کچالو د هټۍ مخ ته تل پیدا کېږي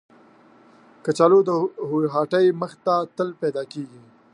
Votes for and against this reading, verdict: 1, 2, rejected